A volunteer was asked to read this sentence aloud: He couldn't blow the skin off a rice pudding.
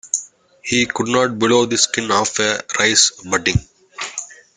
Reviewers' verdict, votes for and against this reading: rejected, 1, 2